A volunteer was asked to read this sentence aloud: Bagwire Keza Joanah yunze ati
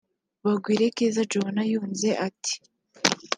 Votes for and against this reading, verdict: 0, 2, rejected